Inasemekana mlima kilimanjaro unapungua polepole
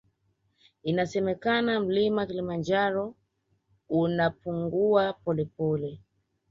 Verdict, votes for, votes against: accepted, 3, 0